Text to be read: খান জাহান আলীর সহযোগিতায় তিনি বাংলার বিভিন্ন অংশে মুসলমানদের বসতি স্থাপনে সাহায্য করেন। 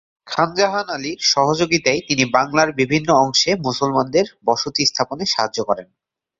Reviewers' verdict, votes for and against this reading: accepted, 2, 1